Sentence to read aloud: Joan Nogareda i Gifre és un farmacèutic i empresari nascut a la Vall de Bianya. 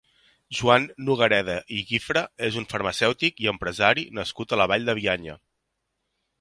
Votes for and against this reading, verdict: 3, 0, accepted